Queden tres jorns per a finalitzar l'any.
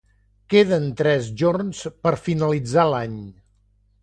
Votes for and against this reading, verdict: 1, 2, rejected